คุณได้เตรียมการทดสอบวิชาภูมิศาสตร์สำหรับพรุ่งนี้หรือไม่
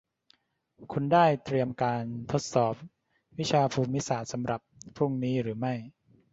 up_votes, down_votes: 2, 0